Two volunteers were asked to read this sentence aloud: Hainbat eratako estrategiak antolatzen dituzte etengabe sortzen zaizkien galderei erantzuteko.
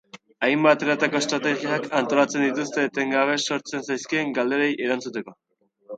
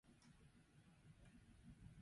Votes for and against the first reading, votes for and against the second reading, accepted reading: 2, 0, 0, 4, first